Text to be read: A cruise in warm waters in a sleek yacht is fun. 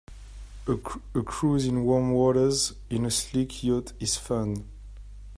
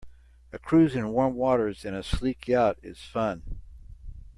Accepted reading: second